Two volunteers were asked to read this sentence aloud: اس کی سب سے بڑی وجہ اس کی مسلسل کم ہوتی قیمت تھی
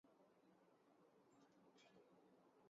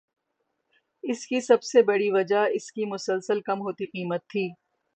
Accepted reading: second